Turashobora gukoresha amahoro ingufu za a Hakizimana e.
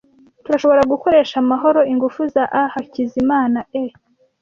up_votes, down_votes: 2, 0